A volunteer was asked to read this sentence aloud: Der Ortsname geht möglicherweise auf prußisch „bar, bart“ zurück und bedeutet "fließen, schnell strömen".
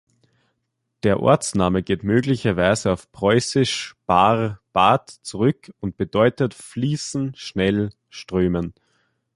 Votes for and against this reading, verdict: 1, 2, rejected